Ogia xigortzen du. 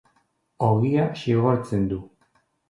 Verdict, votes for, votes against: accepted, 2, 0